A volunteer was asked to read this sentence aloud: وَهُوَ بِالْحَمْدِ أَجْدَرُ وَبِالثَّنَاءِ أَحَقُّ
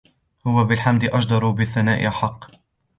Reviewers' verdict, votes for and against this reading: accepted, 2, 1